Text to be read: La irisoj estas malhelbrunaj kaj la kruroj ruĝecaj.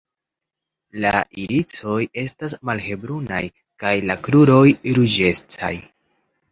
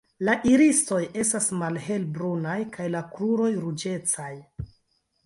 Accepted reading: first